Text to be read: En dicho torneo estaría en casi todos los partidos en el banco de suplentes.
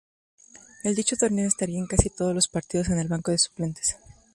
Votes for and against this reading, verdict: 0, 2, rejected